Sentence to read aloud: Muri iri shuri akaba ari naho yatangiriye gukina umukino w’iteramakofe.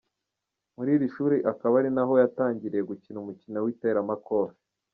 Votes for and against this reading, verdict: 2, 1, accepted